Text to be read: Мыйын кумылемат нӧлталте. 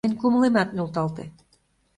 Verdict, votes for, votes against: rejected, 0, 2